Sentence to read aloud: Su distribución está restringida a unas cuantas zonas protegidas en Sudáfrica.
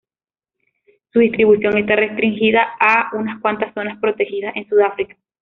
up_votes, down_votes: 2, 0